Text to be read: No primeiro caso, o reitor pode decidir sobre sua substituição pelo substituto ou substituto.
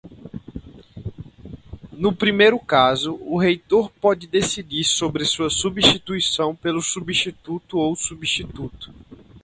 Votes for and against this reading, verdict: 4, 0, accepted